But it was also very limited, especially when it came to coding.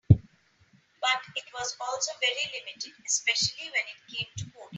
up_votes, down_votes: 0, 2